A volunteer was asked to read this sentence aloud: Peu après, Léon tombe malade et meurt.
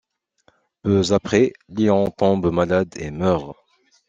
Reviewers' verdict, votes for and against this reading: accepted, 2, 0